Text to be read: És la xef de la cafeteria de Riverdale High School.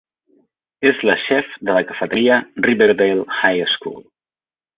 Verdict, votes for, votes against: rejected, 0, 2